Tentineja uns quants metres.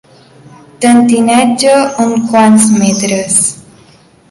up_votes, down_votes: 2, 0